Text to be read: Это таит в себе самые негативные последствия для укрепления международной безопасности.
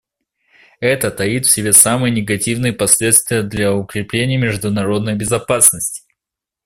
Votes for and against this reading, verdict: 2, 0, accepted